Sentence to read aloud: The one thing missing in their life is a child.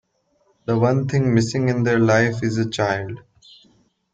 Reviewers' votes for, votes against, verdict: 2, 1, accepted